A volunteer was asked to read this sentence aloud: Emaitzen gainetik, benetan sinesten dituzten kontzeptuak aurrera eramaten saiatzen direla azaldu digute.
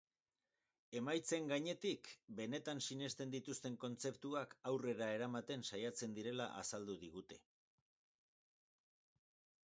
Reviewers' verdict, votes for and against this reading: accepted, 4, 0